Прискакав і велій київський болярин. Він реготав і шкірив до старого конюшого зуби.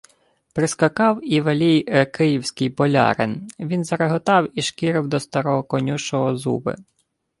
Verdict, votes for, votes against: rejected, 0, 2